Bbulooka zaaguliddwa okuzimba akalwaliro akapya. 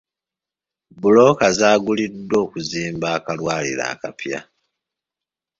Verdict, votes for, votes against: accepted, 2, 0